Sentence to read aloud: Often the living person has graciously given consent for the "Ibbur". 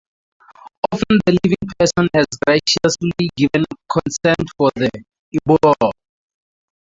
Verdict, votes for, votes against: rejected, 0, 2